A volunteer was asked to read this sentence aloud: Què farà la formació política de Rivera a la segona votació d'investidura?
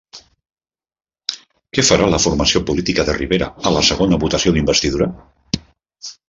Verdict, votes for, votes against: accepted, 2, 1